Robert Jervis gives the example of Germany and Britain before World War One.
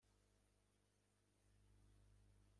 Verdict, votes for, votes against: rejected, 0, 2